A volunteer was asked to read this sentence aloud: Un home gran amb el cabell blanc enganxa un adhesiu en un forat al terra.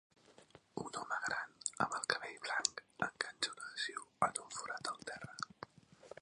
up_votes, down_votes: 2, 0